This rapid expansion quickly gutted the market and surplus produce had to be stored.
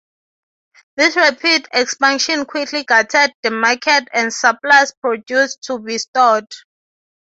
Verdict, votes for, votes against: rejected, 0, 6